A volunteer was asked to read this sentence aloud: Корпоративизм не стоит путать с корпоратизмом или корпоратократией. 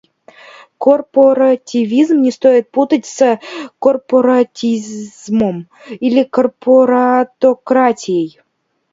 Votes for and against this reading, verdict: 1, 2, rejected